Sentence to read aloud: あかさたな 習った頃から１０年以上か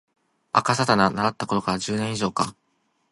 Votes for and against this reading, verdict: 0, 2, rejected